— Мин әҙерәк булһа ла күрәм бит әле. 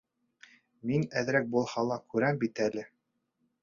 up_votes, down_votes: 2, 0